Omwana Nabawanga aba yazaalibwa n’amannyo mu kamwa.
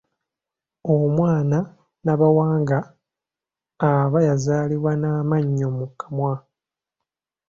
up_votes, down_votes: 2, 0